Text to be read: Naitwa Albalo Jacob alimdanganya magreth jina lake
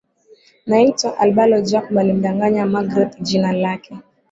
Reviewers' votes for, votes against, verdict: 2, 1, accepted